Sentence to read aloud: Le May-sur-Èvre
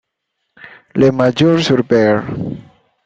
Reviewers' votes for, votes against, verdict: 0, 2, rejected